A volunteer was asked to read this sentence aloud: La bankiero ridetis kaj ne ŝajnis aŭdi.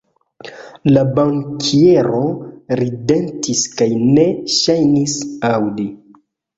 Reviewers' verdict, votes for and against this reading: accepted, 2, 1